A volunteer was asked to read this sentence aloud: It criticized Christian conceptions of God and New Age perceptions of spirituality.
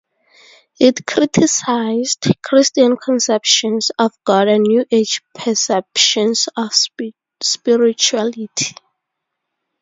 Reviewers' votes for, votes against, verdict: 0, 10, rejected